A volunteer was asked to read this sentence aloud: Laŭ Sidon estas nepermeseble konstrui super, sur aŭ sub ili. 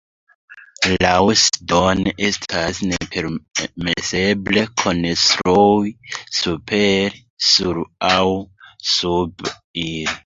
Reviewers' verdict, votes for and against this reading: rejected, 1, 2